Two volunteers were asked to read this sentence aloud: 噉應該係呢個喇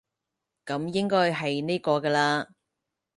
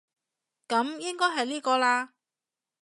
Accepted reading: second